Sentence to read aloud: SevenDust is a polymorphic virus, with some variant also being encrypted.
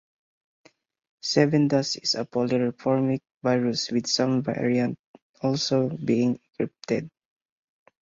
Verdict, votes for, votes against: rejected, 0, 4